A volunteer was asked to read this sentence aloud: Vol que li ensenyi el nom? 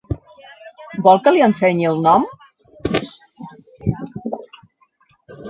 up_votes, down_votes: 2, 0